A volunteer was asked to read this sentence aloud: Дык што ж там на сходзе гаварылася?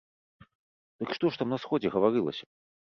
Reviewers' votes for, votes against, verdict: 3, 0, accepted